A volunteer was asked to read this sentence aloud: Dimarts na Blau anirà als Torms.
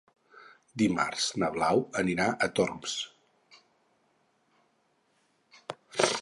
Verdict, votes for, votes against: rejected, 0, 4